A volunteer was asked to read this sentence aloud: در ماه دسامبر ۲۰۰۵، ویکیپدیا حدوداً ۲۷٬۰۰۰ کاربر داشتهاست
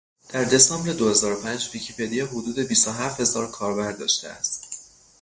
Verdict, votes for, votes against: rejected, 0, 2